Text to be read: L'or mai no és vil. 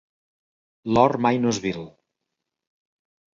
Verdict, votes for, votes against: accepted, 2, 0